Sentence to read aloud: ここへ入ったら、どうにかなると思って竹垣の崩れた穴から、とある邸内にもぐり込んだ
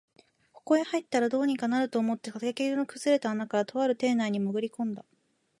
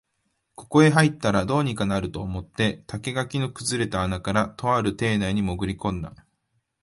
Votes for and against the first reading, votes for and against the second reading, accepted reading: 1, 2, 3, 0, second